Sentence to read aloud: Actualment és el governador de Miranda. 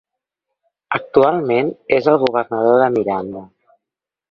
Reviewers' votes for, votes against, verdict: 2, 0, accepted